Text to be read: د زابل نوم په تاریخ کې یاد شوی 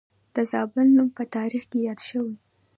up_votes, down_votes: 1, 2